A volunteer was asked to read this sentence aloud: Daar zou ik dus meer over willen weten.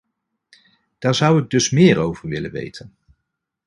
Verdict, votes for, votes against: accepted, 2, 0